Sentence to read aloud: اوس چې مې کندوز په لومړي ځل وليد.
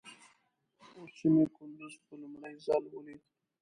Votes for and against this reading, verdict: 0, 2, rejected